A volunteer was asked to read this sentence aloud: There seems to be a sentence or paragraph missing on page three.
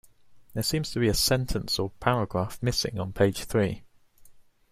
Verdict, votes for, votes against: accepted, 2, 0